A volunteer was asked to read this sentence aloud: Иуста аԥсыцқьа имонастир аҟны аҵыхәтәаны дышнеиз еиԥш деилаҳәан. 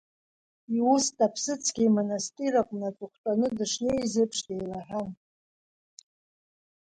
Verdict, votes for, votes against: accepted, 3, 1